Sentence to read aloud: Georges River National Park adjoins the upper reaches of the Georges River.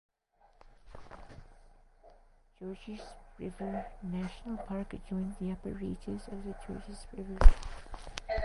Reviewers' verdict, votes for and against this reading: rejected, 0, 2